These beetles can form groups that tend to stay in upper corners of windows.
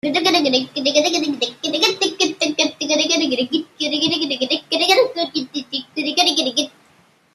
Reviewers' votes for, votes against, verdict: 0, 2, rejected